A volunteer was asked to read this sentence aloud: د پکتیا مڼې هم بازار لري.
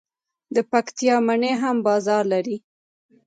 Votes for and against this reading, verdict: 1, 2, rejected